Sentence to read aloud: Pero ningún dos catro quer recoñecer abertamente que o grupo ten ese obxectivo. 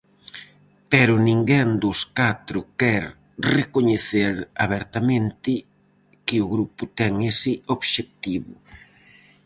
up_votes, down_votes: 0, 4